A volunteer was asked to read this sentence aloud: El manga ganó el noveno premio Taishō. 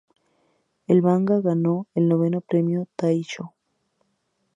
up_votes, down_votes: 2, 0